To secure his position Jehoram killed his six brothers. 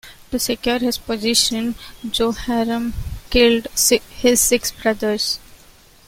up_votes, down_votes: 2, 1